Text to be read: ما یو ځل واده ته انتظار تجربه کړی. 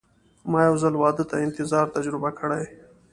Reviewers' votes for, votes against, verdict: 2, 0, accepted